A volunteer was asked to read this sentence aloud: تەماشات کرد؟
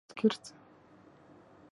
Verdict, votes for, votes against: rejected, 1, 2